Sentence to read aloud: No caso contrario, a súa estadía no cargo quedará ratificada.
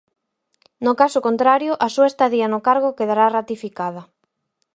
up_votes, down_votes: 4, 0